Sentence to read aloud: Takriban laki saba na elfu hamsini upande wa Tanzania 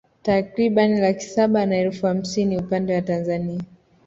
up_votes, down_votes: 2, 0